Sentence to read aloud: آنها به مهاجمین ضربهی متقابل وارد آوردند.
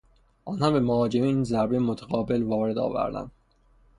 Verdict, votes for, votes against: accepted, 6, 0